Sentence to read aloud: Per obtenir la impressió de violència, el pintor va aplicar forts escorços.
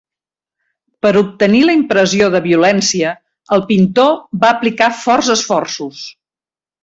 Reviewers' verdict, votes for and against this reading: rejected, 1, 2